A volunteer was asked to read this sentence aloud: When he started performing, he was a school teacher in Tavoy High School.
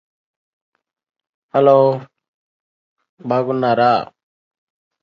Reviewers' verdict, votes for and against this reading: rejected, 0, 2